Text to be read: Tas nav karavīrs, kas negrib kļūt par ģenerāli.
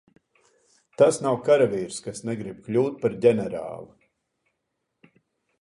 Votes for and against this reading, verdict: 2, 0, accepted